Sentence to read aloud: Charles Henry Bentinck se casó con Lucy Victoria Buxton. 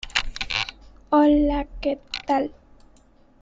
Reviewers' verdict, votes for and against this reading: rejected, 0, 2